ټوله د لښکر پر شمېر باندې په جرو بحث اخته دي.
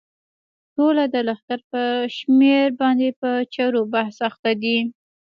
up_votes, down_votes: 1, 2